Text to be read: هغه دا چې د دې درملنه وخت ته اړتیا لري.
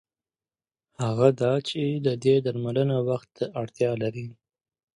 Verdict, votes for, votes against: accepted, 2, 0